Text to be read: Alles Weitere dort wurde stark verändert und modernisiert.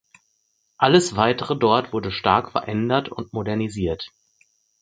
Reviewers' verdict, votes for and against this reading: accepted, 4, 0